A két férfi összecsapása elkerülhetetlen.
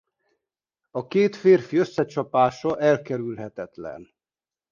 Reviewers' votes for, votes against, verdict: 2, 0, accepted